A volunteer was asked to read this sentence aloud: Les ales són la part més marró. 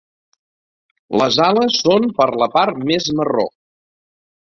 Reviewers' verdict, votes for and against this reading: rejected, 0, 3